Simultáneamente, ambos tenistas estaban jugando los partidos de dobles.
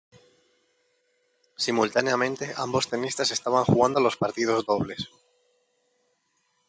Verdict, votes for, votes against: rejected, 1, 2